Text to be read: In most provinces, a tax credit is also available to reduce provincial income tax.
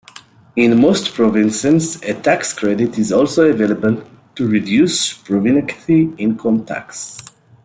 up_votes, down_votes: 1, 2